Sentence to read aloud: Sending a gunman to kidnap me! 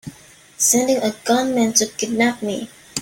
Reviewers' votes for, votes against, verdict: 2, 1, accepted